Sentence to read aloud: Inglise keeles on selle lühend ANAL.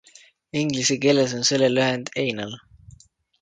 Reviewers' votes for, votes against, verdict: 2, 0, accepted